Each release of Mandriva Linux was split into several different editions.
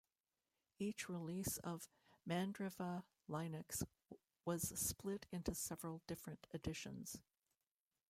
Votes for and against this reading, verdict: 1, 2, rejected